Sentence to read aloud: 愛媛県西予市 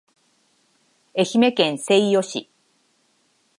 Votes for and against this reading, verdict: 3, 0, accepted